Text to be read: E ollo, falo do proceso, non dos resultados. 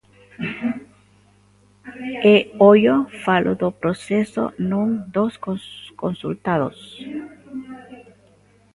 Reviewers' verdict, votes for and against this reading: rejected, 0, 3